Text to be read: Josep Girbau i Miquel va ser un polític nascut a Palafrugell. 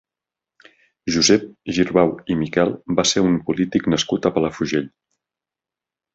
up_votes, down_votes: 3, 0